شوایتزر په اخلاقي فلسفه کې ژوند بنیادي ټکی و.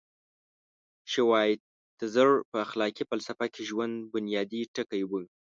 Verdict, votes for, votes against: rejected, 1, 2